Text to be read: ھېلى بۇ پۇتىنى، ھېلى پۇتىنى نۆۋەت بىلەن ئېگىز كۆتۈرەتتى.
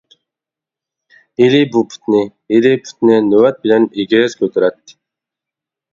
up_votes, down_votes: 1, 2